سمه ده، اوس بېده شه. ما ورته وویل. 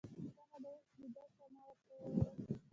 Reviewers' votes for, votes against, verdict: 1, 2, rejected